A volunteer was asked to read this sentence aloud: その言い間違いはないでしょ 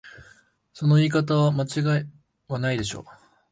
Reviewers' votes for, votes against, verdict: 1, 2, rejected